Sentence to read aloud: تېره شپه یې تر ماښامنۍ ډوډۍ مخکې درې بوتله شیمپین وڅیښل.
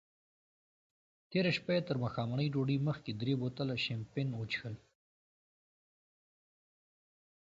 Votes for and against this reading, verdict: 0, 2, rejected